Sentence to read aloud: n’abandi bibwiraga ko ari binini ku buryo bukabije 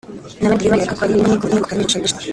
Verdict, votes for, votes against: rejected, 0, 2